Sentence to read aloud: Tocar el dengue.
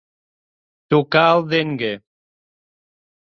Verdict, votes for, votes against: accepted, 2, 0